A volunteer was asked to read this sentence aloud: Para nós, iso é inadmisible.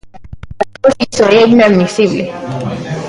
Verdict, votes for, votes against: rejected, 0, 3